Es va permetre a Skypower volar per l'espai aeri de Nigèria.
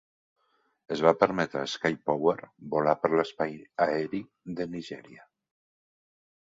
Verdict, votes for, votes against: accepted, 2, 0